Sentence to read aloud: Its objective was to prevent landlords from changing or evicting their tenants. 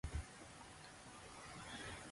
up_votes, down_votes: 0, 2